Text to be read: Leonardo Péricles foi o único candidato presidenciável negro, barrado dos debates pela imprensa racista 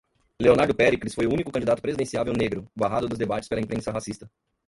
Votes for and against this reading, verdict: 1, 2, rejected